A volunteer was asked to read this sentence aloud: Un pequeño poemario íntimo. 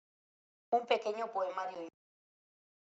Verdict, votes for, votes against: rejected, 0, 2